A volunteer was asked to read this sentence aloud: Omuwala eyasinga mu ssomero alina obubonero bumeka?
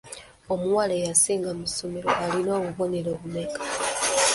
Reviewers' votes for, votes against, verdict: 2, 0, accepted